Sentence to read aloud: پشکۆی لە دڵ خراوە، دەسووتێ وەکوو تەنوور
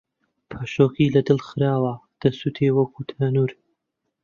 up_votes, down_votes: 0, 2